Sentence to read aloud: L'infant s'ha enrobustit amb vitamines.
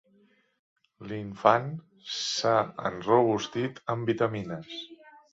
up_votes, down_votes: 2, 0